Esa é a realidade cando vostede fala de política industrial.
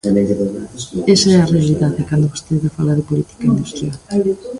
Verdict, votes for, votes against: rejected, 0, 2